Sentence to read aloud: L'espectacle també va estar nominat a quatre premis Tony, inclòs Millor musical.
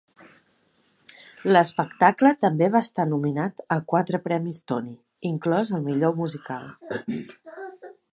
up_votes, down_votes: 1, 2